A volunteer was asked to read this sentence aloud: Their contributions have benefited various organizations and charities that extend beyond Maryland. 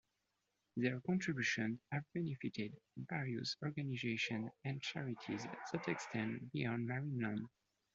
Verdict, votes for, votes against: accepted, 2, 0